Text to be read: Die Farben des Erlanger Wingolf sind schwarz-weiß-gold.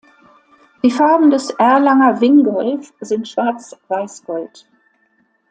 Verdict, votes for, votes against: accepted, 2, 0